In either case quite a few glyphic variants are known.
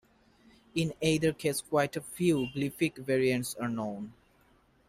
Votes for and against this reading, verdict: 2, 1, accepted